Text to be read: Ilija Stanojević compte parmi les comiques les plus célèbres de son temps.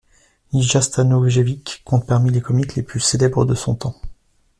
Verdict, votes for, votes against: accepted, 2, 1